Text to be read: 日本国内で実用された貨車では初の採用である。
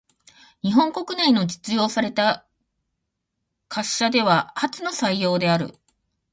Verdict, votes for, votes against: accepted, 2, 0